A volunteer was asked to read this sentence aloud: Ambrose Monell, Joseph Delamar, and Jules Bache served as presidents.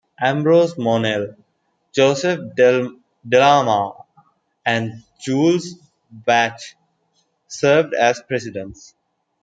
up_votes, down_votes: 1, 2